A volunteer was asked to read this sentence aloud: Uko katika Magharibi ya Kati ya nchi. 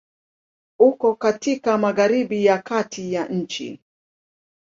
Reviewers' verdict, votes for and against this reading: accepted, 2, 0